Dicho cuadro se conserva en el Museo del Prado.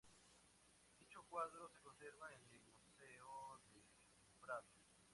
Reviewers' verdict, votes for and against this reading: rejected, 0, 4